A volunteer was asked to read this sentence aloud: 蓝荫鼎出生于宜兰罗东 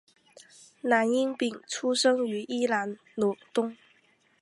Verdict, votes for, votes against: accepted, 5, 1